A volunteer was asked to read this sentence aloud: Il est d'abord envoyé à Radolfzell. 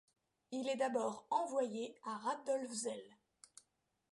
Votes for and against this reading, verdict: 2, 0, accepted